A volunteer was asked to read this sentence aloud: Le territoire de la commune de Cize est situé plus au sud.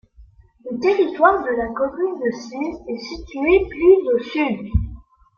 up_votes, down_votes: 2, 0